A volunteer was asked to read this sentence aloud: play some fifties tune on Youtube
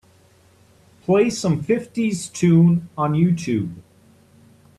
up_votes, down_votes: 2, 0